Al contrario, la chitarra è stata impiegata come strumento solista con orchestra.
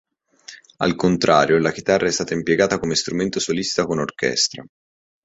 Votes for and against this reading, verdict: 3, 0, accepted